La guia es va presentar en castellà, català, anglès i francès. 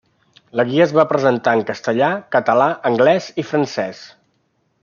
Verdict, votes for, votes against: accepted, 3, 0